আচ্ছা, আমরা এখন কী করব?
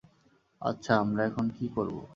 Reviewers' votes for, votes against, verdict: 2, 0, accepted